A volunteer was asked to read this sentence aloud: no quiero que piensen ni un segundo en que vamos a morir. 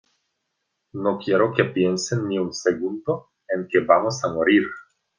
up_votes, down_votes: 2, 0